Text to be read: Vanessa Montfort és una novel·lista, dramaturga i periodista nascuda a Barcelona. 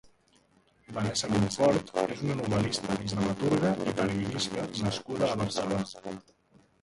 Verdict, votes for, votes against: rejected, 0, 2